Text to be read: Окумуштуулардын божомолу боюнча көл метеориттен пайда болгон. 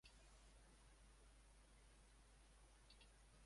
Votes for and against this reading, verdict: 2, 0, accepted